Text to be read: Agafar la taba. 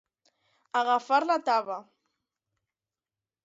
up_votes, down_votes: 2, 0